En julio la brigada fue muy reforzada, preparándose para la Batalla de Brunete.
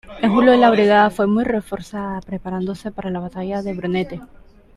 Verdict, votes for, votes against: accepted, 2, 0